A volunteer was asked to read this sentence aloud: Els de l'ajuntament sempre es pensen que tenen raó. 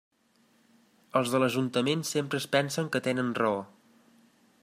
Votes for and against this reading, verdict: 5, 0, accepted